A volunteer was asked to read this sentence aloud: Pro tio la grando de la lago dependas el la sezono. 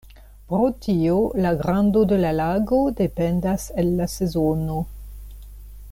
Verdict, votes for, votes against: accepted, 2, 0